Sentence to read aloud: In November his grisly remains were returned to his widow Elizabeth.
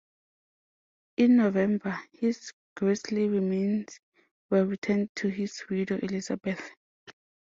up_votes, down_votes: 2, 0